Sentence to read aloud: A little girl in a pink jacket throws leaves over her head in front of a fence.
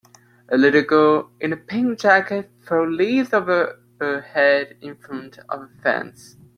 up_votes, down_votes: 2, 1